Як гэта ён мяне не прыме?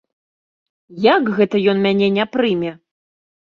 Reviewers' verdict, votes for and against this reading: accepted, 3, 0